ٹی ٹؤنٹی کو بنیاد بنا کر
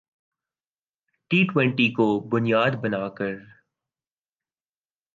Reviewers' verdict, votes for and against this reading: accepted, 3, 0